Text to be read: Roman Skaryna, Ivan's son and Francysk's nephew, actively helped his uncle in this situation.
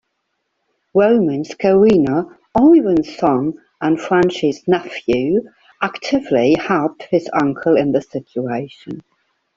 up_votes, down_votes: 0, 2